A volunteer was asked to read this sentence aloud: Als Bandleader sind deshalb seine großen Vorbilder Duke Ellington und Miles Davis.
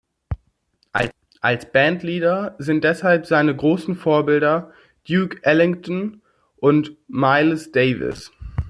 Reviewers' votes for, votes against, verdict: 0, 2, rejected